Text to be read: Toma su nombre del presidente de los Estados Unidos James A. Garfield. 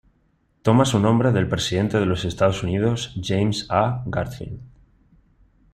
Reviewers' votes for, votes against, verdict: 2, 0, accepted